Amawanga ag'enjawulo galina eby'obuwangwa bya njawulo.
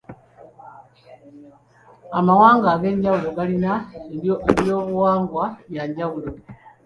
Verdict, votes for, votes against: accepted, 2, 1